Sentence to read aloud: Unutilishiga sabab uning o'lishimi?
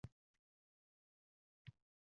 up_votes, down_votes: 0, 2